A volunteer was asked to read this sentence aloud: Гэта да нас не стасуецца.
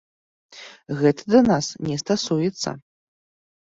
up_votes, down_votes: 2, 0